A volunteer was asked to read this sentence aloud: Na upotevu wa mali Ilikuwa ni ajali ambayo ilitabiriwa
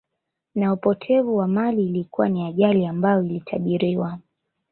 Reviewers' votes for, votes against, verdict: 2, 0, accepted